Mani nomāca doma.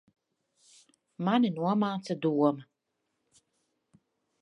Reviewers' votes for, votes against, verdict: 2, 0, accepted